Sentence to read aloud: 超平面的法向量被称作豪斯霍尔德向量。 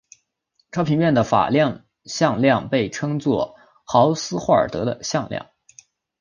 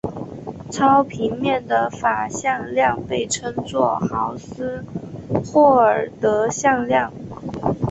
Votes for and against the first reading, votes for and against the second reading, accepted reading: 0, 3, 3, 1, second